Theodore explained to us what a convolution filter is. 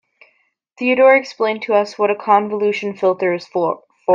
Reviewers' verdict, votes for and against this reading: rejected, 0, 2